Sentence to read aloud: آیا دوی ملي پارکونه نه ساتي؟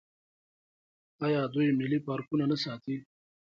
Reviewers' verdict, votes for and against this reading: rejected, 0, 3